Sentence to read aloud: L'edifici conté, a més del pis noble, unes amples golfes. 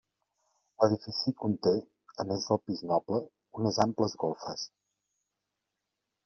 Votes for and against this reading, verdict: 2, 0, accepted